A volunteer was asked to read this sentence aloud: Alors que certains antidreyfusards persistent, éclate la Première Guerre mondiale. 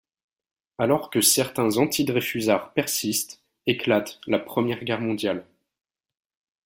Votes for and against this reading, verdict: 2, 0, accepted